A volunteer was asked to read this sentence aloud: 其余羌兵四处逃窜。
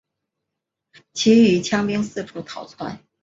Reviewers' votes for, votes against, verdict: 2, 0, accepted